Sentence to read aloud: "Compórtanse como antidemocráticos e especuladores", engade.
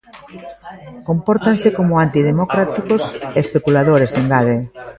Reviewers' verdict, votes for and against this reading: rejected, 0, 2